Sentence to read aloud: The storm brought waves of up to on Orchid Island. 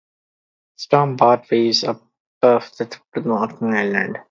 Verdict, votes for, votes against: rejected, 0, 2